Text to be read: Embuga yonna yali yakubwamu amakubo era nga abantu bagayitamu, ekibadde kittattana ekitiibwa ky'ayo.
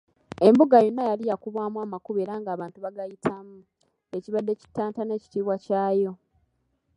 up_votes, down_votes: 1, 2